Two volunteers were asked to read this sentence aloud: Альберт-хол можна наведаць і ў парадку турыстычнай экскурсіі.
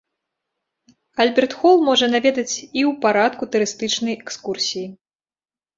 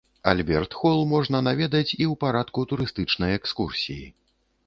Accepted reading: second